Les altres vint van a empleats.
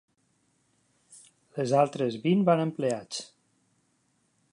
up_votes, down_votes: 2, 0